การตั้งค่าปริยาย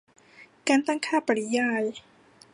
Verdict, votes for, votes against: accepted, 2, 0